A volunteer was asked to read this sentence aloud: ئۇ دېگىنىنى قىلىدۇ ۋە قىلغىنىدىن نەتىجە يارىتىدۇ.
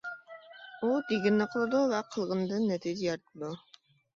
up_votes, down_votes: 2, 0